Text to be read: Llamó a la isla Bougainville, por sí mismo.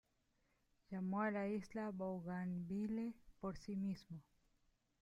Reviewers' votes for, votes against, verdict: 0, 2, rejected